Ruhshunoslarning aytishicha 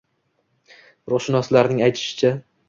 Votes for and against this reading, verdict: 2, 1, accepted